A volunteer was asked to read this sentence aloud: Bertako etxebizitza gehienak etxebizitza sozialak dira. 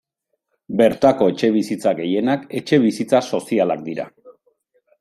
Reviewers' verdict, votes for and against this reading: rejected, 0, 2